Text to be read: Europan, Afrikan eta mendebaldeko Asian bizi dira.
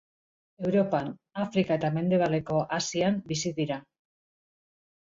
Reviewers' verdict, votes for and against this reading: rejected, 0, 2